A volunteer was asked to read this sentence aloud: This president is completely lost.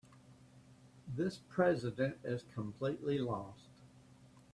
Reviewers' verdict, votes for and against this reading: accepted, 2, 0